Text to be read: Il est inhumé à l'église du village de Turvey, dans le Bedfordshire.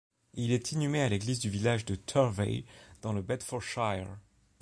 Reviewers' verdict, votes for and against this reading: accepted, 2, 0